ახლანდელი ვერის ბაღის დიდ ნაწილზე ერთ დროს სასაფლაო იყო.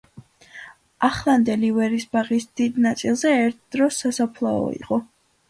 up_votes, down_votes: 2, 0